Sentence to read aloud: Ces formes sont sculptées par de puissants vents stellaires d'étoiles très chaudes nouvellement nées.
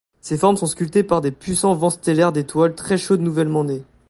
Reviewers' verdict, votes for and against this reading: rejected, 1, 2